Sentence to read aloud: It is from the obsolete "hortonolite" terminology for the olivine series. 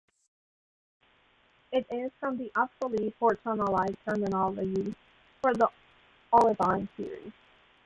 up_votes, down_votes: 2, 1